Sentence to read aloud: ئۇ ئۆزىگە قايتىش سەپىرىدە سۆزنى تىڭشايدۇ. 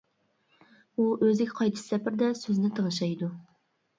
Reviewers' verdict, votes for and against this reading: rejected, 1, 2